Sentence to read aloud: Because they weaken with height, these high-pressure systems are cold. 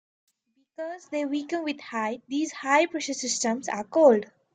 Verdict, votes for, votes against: accepted, 2, 0